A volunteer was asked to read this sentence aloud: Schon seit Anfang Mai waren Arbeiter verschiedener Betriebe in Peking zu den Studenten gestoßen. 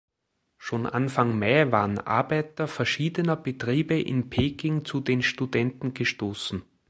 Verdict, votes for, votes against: rejected, 1, 3